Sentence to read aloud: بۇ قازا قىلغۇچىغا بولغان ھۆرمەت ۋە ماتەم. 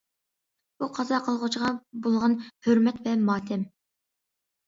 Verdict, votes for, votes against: accepted, 2, 0